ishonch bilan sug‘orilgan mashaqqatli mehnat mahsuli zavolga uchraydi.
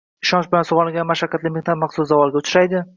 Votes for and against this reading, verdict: 0, 2, rejected